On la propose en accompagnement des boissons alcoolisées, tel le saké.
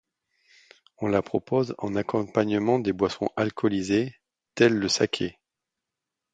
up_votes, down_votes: 2, 0